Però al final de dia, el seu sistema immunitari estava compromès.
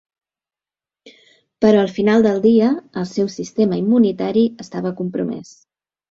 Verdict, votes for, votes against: rejected, 1, 2